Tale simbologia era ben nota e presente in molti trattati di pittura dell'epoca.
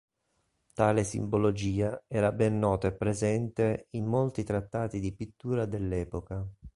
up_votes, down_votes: 4, 0